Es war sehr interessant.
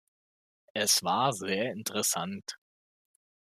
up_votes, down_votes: 2, 0